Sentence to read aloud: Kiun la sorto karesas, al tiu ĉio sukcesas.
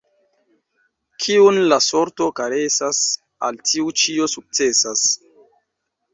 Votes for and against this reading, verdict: 2, 0, accepted